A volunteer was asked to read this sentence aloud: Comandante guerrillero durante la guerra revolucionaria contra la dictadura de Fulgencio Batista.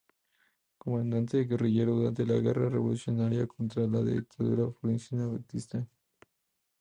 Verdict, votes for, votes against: rejected, 0, 2